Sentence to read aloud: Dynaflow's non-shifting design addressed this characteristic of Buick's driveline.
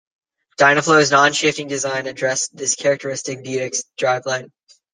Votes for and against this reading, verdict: 0, 2, rejected